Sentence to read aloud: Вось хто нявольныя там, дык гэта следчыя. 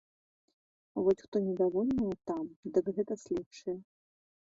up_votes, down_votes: 1, 2